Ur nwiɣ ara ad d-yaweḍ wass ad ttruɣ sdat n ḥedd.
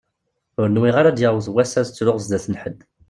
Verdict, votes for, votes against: accepted, 2, 0